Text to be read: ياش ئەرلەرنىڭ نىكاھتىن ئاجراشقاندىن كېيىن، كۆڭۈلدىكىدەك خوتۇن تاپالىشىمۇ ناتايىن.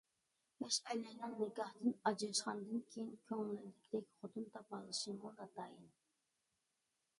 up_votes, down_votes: 0, 2